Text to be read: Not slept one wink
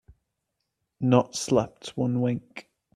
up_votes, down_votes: 2, 0